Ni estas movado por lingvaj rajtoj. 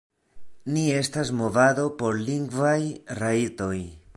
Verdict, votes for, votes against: accepted, 2, 0